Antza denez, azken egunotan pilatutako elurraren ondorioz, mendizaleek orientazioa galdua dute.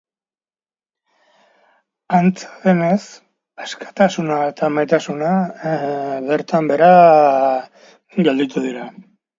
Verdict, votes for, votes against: rejected, 0, 2